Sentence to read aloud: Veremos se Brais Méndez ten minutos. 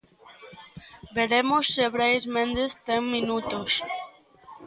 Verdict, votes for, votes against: accepted, 2, 0